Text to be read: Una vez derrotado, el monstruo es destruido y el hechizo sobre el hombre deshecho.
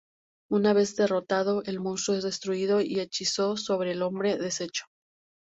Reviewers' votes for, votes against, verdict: 0, 2, rejected